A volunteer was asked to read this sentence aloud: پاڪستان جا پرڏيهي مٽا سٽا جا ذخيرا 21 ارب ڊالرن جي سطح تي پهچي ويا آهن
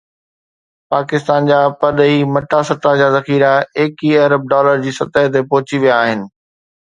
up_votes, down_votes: 0, 2